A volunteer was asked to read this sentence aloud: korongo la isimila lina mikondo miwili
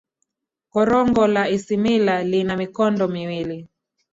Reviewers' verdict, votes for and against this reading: accepted, 15, 1